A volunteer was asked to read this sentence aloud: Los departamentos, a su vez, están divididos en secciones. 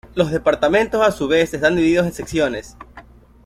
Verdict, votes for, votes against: accepted, 2, 0